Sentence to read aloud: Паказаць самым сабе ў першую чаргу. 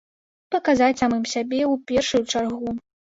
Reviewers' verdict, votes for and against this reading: accepted, 2, 0